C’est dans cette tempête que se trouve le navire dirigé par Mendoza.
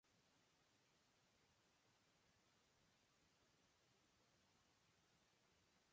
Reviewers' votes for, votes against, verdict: 0, 2, rejected